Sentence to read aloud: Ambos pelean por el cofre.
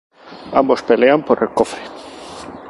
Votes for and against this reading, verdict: 2, 0, accepted